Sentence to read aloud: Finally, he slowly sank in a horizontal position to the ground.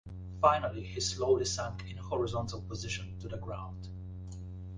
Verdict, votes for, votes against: accepted, 2, 0